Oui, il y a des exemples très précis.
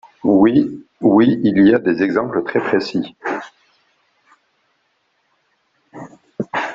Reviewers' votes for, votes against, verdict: 1, 3, rejected